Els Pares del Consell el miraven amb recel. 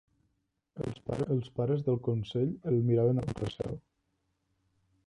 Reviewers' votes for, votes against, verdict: 0, 2, rejected